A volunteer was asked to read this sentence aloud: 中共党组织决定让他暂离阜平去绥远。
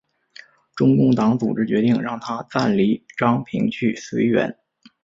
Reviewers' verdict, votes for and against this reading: accepted, 2, 0